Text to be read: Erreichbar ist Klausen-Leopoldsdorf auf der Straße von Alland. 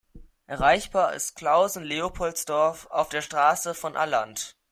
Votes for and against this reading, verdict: 2, 0, accepted